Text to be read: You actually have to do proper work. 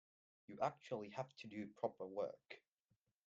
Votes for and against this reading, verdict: 2, 0, accepted